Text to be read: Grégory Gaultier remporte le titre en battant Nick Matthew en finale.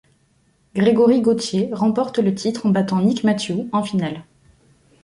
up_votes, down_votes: 2, 0